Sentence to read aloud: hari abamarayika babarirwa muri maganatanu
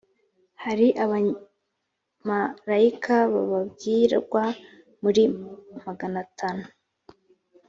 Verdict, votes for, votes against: rejected, 1, 2